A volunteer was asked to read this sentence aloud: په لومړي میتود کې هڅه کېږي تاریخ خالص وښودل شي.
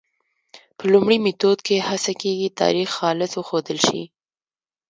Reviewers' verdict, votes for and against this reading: rejected, 1, 2